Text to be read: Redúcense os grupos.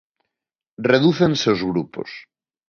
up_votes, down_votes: 2, 0